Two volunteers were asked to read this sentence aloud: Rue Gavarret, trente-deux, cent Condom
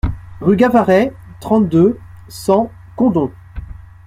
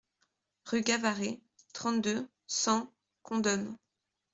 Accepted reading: first